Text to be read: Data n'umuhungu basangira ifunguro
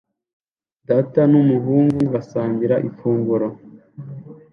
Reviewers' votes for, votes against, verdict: 2, 0, accepted